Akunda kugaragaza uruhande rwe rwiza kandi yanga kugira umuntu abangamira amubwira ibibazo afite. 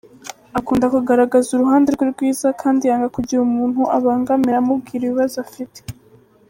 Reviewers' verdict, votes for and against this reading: accepted, 2, 1